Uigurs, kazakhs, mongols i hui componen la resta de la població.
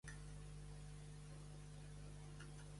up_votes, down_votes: 0, 2